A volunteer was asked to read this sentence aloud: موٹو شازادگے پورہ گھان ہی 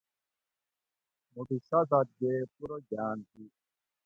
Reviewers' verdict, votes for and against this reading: rejected, 1, 2